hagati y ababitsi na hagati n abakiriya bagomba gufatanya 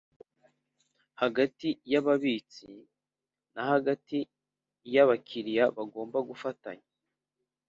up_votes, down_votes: 2, 0